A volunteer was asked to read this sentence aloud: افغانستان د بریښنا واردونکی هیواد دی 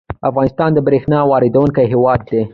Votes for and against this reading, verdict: 2, 3, rejected